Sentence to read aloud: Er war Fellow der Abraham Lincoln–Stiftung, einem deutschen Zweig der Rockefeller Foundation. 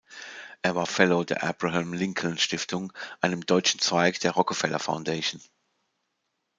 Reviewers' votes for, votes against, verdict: 2, 0, accepted